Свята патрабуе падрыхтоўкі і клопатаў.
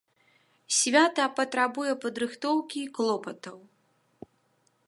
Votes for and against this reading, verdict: 2, 0, accepted